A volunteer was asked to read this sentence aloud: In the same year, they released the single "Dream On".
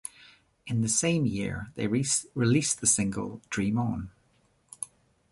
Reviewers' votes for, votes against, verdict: 1, 2, rejected